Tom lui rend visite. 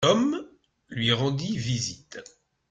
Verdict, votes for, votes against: rejected, 0, 2